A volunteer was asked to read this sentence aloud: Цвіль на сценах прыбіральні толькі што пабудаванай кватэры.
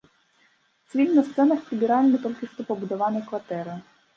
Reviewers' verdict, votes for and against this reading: rejected, 0, 2